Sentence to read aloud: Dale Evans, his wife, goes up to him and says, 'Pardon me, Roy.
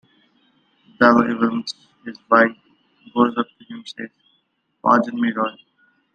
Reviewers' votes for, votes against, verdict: 1, 2, rejected